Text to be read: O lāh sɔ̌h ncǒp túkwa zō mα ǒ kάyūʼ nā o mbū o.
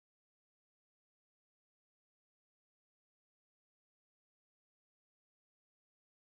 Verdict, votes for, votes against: rejected, 1, 2